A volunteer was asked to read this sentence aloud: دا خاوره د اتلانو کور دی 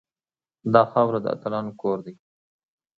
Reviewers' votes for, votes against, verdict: 2, 0, accepted